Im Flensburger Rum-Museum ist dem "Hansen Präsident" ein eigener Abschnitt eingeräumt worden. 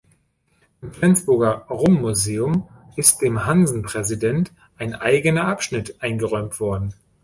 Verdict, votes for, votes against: accepted, 2, 0